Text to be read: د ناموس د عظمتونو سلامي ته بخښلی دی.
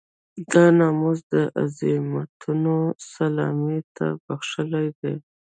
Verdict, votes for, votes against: rejected, 0, 2